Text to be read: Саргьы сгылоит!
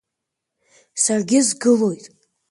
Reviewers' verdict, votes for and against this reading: accepted, 2, 1